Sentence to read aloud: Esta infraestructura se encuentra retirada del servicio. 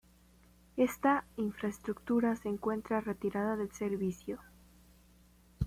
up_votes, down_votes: 2, 0